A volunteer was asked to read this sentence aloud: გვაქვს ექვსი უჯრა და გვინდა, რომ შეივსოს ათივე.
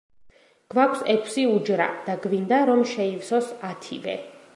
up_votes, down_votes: 2, 0